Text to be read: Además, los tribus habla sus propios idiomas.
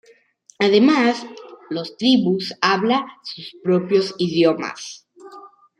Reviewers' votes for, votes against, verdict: 2, 1, accepted